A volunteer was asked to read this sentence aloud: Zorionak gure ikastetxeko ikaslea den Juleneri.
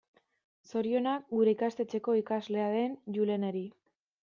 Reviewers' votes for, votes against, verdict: 2, 0, accepted